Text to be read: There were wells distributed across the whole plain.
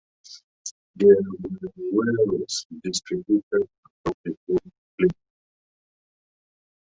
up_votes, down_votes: 0, 2